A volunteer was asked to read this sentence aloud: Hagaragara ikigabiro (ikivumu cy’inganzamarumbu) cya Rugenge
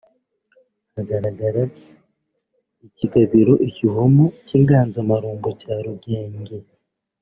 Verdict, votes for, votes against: accepted, 3, 0